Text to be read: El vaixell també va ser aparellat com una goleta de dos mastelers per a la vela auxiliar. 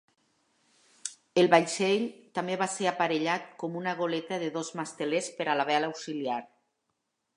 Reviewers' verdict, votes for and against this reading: rejected, 0, 2